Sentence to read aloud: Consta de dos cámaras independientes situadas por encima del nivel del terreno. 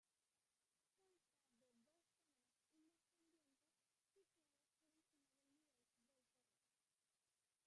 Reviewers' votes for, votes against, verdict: 0, 2, rejected